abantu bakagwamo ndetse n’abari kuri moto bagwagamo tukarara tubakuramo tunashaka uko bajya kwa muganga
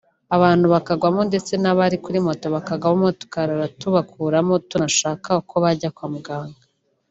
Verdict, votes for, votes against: rejected, 1, 2